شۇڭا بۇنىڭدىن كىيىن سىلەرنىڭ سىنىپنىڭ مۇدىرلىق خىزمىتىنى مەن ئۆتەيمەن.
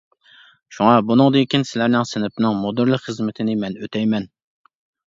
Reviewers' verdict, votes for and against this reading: accepted, 2, 0